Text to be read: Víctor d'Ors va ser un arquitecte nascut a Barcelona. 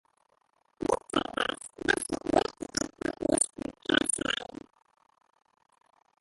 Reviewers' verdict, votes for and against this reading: rejected, 0, 2